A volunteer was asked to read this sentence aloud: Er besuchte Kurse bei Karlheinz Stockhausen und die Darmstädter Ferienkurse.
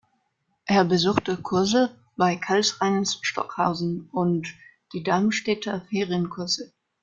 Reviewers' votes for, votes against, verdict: 0, 2, rejected